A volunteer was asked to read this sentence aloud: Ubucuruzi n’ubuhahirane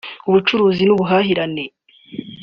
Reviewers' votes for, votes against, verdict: 2, 0, accepted